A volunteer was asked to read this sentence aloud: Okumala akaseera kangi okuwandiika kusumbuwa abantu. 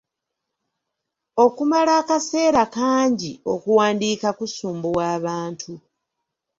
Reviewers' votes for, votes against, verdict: 2, 0, accepted